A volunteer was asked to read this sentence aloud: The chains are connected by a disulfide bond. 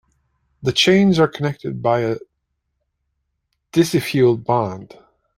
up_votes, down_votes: 0, 2